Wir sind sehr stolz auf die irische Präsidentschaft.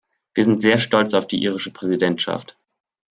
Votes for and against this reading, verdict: 2, 0, accepted